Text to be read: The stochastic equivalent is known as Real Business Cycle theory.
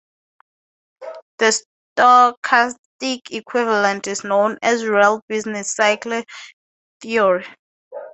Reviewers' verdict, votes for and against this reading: rejected, 0, 2